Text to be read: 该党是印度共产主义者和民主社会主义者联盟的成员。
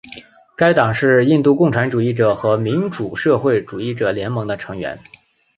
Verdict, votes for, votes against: accepted, 3, 0